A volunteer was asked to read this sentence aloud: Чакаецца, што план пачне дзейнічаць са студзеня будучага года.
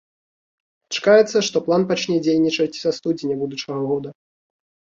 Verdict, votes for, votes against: accepted, 2, 0